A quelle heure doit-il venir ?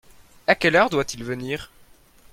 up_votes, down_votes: 2, 0